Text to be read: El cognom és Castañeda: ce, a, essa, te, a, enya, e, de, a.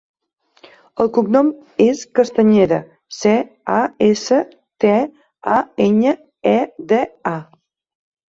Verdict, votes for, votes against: accepted, 3, 2